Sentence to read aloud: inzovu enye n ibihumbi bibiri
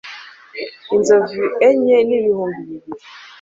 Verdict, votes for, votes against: accepted, 2, 0